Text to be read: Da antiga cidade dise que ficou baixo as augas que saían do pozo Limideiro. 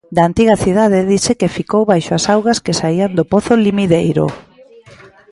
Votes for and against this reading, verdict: 1, 2, rejected